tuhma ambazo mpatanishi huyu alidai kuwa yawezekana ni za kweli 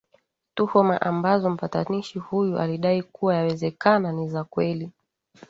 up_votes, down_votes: 2, 0